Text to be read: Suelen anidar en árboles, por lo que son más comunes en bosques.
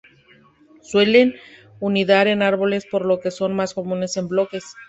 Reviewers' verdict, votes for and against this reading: rejected, 0, 2